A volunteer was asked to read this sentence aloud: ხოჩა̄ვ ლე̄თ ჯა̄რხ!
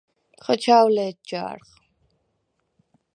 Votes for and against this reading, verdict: 4, 0, accepted